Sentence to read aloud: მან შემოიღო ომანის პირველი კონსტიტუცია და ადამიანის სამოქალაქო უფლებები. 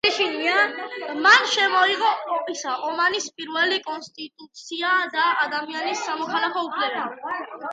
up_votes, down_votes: 1, 2